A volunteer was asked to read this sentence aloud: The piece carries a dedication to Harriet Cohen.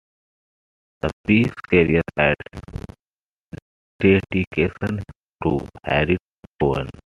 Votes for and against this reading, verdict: 2, 0, accepted